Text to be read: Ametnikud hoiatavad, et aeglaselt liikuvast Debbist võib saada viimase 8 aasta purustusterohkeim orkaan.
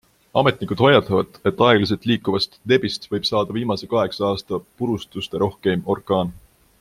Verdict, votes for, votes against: rejected, 0, 2